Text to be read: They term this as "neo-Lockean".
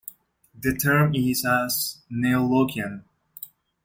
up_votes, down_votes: 2, 1